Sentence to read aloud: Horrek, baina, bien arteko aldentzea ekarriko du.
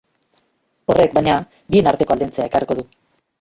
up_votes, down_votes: 0, 2